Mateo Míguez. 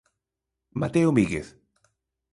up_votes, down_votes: 2, 0